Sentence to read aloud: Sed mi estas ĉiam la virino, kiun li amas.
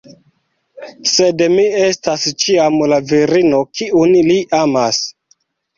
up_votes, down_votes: 0, 2